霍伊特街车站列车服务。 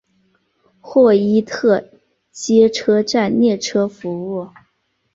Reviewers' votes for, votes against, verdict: 2, 1, accepted